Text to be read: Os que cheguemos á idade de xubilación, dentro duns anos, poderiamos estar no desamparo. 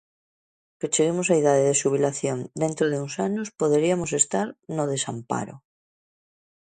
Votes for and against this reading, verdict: 1, 2, rejected